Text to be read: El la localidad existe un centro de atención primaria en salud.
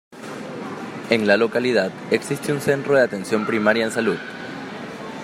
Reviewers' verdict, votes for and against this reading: accepted, 2, 1